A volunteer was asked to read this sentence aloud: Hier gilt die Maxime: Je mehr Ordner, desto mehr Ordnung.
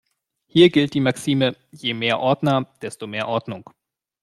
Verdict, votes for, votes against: accepted, 2, 0